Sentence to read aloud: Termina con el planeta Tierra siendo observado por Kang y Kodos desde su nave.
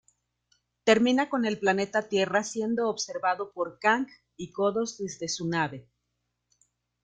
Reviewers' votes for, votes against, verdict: 2, 0, accepted